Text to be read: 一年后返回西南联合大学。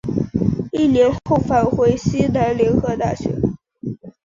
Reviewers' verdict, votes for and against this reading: accepted, 5, 0